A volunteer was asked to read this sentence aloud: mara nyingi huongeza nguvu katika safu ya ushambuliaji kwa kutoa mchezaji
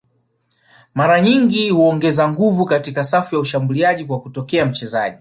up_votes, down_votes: 2, 1